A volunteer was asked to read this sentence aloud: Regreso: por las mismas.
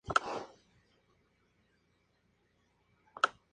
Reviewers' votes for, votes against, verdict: 0, 2, rejected